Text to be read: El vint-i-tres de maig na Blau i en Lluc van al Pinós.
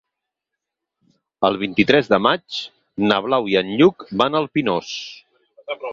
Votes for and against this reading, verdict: 6, 2, accepted